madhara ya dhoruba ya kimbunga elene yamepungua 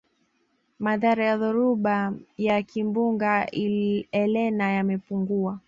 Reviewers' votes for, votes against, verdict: 1, 2, rejected